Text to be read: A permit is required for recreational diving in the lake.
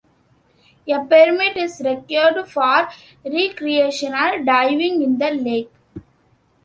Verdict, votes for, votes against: rejected, 0, 2